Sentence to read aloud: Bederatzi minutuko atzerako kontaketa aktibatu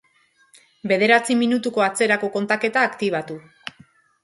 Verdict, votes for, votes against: accepted, 2, 0